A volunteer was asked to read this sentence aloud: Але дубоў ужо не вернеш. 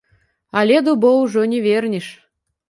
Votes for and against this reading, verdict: 1, 2, rejected